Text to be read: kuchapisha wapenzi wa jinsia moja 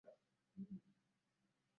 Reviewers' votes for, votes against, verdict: 0, 2, rejected